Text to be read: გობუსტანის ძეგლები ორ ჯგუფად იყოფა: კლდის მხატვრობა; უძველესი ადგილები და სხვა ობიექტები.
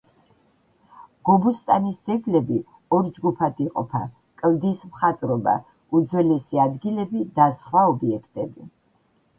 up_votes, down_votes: 2, 1